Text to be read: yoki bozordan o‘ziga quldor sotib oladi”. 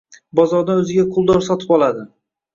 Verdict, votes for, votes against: rejected, 1, 2